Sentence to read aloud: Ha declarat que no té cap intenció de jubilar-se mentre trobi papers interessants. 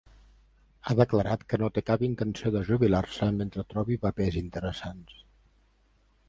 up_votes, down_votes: 4, 0